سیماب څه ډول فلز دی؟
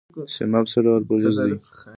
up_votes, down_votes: 2, 1